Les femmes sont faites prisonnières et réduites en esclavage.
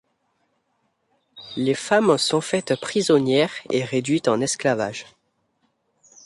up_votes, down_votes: 2, 0